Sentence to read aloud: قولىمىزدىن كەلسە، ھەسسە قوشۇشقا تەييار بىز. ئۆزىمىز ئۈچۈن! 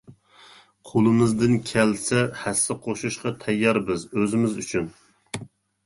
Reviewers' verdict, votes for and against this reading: accepted, 2, 0